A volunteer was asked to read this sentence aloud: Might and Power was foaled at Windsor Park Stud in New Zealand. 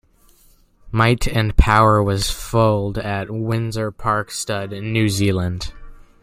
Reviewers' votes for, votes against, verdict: 2, 0, accepted